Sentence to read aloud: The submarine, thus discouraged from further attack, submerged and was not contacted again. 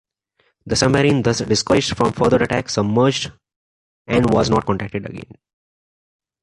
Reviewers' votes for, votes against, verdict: 1, 2, rejected